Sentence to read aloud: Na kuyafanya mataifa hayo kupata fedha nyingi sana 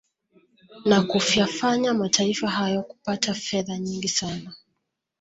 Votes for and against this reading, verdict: 1, 2, rejected